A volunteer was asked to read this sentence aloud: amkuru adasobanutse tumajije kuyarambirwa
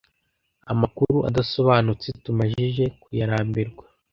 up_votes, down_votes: 2, 0